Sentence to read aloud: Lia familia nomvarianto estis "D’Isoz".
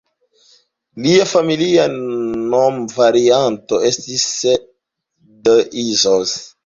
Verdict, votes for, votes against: rejected, 1, 2